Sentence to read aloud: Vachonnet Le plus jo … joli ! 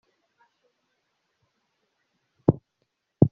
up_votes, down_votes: 0, 2